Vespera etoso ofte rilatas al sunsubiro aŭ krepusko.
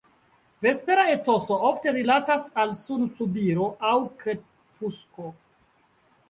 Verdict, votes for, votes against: rejected, 0, 2